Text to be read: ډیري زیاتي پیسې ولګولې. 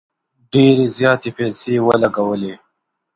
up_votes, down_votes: 2, 0